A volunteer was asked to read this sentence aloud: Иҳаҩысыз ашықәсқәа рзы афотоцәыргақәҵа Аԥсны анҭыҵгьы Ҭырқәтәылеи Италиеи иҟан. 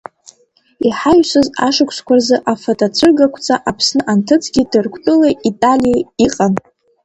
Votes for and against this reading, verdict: 0, 2, rejected